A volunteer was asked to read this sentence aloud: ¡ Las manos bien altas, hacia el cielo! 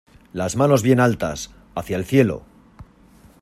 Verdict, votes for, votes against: accepted, 2, 0